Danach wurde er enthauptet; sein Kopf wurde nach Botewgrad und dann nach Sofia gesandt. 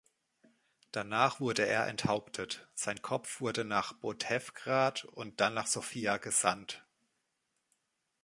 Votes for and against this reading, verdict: 0, 2, rejected